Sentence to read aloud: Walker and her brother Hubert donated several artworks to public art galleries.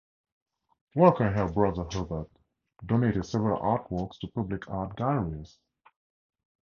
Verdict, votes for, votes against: accepted, 2, 0